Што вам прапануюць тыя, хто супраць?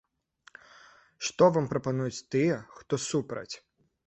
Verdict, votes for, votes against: accepted, 2, 0